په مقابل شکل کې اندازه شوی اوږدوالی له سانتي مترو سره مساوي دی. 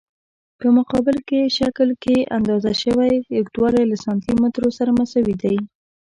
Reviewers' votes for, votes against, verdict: 1, 2, rejected